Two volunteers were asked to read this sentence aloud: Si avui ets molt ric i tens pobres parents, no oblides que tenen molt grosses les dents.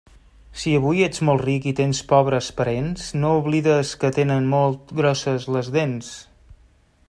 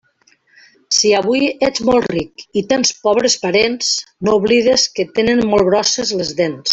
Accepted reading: second